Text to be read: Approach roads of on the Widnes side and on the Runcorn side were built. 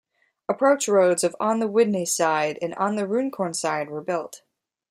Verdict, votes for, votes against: rejected, 1, 2